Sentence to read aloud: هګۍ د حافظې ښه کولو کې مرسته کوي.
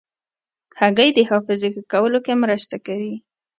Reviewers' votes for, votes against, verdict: 2, 0, accepted